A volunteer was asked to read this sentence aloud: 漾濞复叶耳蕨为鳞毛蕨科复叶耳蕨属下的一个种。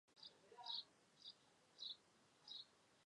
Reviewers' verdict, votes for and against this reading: rejected, 0, 2